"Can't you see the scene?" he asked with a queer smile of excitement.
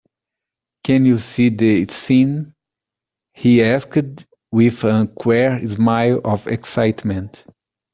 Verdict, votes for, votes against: accepted, 2, 1